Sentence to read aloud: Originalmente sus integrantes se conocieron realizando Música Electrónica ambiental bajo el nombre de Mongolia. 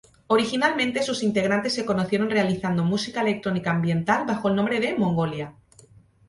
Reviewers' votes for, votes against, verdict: 2, 2, rejected